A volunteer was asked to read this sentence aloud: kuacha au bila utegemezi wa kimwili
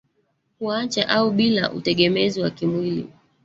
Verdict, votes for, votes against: rejected, 1, 2